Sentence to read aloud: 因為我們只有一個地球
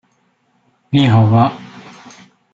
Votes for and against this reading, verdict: 0, 2, rejected